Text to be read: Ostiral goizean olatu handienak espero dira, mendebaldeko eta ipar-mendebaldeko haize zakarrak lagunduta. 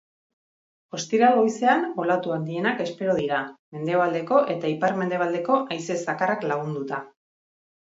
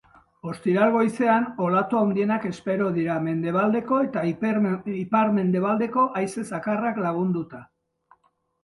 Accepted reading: first